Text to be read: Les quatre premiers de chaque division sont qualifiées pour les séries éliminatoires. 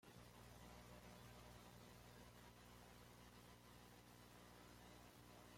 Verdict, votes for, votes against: rejected, 1, 2